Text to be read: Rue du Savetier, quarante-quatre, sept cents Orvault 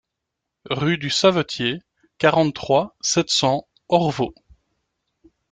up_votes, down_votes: 1, 2